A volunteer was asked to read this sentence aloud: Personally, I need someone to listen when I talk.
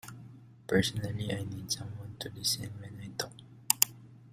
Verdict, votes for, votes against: rejected, 0, 2